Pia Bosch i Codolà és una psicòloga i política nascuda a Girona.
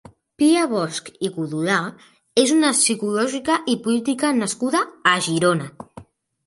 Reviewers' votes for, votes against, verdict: 0, 2, rejected